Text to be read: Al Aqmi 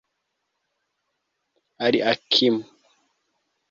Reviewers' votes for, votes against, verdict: 0, 2, rejected